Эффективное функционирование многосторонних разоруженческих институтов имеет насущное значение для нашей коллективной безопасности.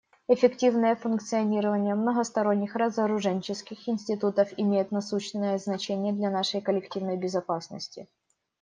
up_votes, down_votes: 2, 1